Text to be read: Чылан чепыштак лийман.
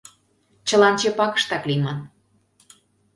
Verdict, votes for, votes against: rejected, 1, 2